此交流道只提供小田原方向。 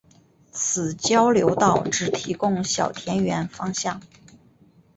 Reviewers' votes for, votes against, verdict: 4, 0, accepted